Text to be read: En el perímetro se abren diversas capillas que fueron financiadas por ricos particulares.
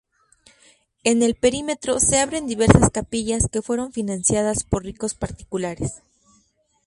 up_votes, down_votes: 2, 0